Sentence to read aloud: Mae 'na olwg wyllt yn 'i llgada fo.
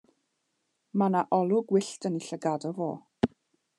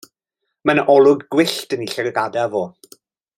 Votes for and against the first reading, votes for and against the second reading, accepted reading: 2, 1, 0, 2, first